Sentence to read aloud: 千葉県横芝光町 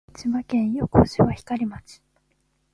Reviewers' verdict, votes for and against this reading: accepted, 2, 1